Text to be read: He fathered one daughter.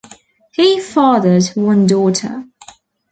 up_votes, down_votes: 2, 0